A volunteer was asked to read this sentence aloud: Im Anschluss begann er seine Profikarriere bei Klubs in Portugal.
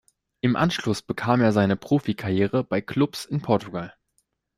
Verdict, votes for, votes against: rejected, 0, 2